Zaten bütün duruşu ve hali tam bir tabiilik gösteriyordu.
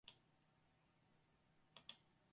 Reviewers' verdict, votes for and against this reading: rejected, 0, 4